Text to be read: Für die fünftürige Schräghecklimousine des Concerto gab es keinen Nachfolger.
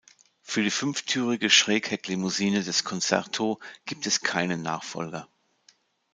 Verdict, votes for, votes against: rejected, 1, 2